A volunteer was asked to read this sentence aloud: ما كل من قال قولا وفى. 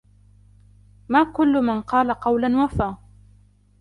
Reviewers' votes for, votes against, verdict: 2, 1, accepted